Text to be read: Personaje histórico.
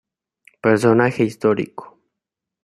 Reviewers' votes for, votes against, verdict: 2, 0, accepted